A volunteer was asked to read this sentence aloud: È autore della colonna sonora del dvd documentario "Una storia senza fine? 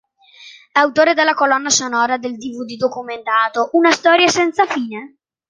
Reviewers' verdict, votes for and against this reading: rejected, 0, 2